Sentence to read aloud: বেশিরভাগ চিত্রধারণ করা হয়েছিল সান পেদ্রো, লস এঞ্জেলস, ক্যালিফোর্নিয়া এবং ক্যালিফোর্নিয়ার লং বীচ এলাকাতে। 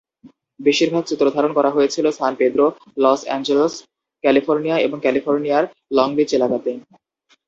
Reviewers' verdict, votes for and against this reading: accepted, 2, 0